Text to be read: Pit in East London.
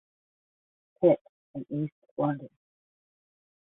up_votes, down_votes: 0, 5